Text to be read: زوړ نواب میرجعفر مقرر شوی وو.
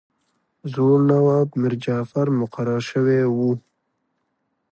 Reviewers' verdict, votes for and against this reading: rejected, 1, 2